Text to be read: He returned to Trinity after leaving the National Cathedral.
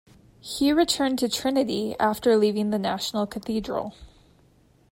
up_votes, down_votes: 2, 0